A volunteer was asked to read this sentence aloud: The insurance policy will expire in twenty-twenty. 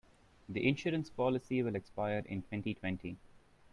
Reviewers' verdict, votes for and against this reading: rejected, 1, 2